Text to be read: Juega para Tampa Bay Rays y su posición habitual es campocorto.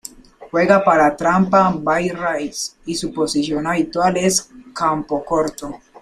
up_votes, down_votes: 0, 2